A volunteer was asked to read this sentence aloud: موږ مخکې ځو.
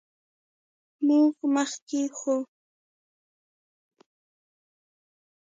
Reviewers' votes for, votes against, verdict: 0, 2, rejected